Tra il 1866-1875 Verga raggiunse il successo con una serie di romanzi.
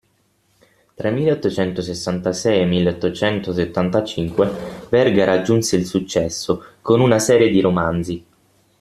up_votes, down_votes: 0, 2